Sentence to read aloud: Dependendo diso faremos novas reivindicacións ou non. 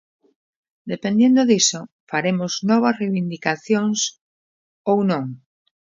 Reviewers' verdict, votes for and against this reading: rejected, 0, 2